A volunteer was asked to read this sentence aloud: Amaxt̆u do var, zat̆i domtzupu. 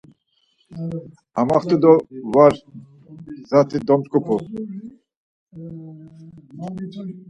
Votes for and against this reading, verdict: 4, 0, accepted